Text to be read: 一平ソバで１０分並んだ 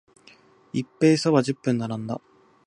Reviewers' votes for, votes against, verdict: 0, 2, rejected